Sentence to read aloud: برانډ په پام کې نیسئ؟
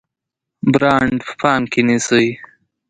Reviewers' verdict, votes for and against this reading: rejected, 0, 2